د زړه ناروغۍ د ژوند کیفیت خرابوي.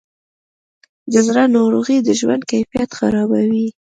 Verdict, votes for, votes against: accepted, 2, 0